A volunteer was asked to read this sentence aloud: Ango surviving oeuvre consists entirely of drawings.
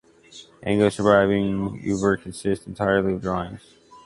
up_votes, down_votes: 1, 2